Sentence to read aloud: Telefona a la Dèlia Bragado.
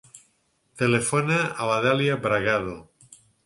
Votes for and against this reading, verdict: 4, 0, accepted